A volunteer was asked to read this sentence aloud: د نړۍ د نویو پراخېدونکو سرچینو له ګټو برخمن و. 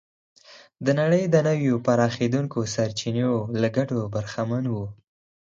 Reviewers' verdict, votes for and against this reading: accepted, 4, 0